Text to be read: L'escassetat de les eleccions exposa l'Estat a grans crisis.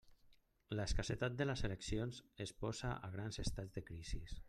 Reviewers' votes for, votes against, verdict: 1, 2, rejected